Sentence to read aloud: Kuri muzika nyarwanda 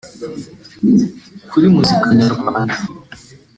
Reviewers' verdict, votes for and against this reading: rejected, 0, 2